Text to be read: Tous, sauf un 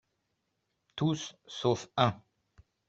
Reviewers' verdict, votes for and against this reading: accepted, 2, 0